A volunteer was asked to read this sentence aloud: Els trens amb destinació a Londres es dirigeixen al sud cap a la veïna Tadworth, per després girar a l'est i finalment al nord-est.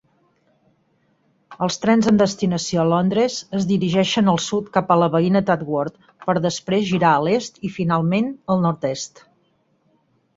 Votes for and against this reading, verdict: 0, 4, rejected